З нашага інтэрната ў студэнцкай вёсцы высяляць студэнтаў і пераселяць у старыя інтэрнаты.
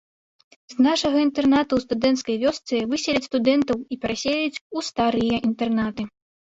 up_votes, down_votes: 2, 0